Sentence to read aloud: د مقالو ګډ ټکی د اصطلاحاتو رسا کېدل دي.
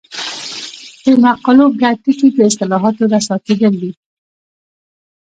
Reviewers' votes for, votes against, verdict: 1, 2, rejected